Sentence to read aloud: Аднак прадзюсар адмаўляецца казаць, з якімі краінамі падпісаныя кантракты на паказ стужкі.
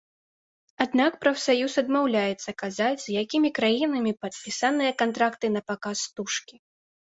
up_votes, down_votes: 1, 2